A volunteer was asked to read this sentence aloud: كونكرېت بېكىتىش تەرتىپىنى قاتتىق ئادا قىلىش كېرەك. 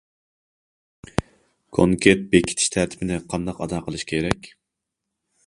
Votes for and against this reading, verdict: 0, 2, rejected